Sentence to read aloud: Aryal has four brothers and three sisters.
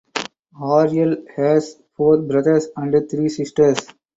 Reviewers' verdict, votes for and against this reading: rejected, 2, 2